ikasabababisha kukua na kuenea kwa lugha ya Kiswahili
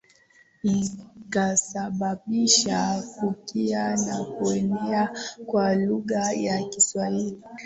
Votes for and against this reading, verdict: 0, 3, rejected